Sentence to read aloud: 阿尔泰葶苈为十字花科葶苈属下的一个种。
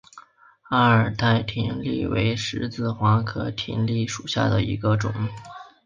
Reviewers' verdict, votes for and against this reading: accepted, 4, 0